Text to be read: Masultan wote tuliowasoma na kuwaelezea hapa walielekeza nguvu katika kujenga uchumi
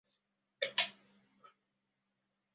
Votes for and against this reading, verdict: 0, 2, rejected